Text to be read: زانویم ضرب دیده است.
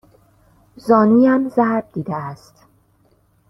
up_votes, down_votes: 2, 0